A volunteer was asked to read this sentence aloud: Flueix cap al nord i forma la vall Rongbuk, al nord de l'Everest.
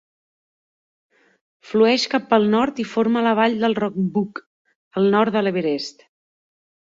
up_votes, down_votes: 1, 3